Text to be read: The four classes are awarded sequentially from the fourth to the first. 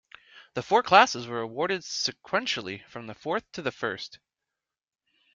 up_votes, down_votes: 1, 2